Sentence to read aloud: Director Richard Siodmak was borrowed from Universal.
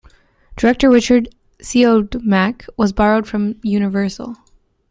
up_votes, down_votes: 0, 2